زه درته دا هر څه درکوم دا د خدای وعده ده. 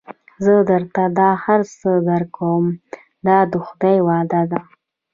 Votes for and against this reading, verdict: 1, 2, rejected